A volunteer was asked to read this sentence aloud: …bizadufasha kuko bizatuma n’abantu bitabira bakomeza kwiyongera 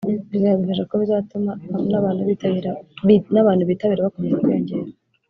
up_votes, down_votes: 1, 3